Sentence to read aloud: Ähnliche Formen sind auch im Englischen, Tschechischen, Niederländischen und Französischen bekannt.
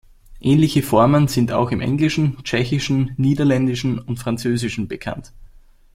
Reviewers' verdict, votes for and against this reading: accepted, 2, 0